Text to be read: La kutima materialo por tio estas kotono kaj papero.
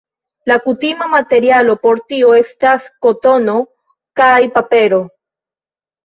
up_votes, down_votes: 2, 1